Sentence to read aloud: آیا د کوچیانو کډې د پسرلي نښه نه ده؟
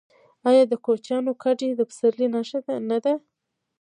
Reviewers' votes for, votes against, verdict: 2, 1, accepted